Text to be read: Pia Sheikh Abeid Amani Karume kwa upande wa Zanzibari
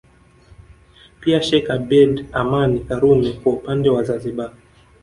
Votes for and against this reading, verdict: 0, 2, rejected